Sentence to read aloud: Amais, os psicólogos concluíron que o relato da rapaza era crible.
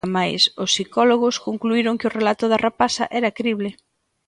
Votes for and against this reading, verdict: 3, 0, accepted